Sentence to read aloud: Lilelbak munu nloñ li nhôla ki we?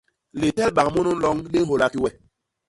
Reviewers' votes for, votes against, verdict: 0, 2, rejected